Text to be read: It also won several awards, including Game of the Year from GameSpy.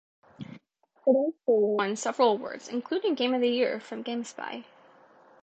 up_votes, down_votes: 2, 1